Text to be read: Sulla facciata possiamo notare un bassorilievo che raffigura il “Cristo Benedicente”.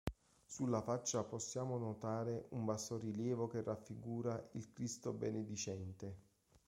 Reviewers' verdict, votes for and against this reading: rejected, 0, 2